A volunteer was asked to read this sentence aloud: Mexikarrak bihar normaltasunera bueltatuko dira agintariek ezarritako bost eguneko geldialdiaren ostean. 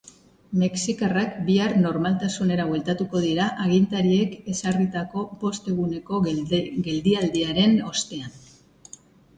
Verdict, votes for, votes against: rejected, 1, 2